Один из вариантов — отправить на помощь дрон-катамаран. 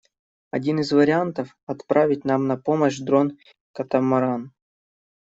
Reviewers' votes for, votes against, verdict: 1, 2, rejected